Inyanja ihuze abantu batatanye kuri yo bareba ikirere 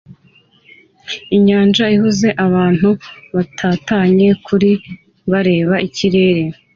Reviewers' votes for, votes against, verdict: 2, 0, accepted